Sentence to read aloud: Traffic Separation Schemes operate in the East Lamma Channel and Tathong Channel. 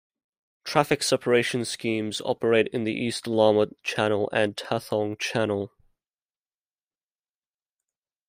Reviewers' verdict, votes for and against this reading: accepted, 2, 1